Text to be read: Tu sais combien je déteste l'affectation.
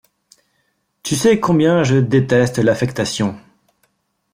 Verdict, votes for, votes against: accepted, 2, 0